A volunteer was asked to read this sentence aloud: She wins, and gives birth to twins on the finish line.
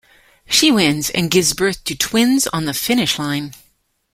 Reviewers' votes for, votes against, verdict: 2, 0, accepted